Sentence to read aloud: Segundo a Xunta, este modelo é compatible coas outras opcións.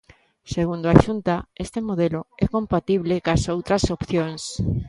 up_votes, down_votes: 1, 2